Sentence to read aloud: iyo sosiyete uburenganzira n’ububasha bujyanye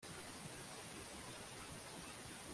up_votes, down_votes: 0, 2